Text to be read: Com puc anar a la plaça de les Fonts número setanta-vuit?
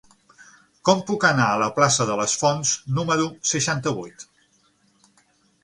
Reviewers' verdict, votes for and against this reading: rejected, 0, 6